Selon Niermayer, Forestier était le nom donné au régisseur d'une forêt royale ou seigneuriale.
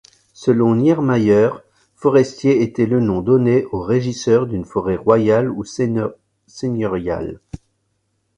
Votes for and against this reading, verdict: 0, 2, rejected